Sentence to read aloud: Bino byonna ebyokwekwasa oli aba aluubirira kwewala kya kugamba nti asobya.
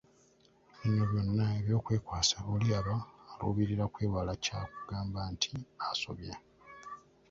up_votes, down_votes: 1, 2